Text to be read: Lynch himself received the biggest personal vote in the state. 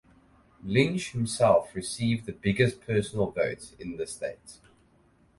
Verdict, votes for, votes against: accepted, 4, 0